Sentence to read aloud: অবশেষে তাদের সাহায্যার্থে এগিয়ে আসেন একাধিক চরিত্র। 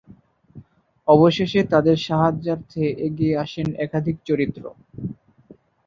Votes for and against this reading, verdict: 2, 0, accepted